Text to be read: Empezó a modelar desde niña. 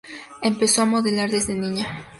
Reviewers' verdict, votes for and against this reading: accepted, 2, 0